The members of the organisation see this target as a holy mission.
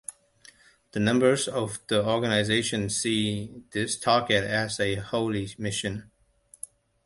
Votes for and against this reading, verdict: 0, 2, rejected